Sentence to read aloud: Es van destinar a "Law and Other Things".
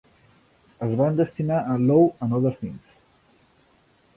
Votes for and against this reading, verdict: 1, 2, rejected